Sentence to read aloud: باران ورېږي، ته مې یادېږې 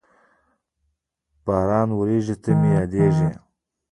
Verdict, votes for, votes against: accepted, 2, 1